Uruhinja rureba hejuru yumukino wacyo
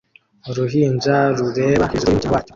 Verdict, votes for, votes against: rejected, 0, 2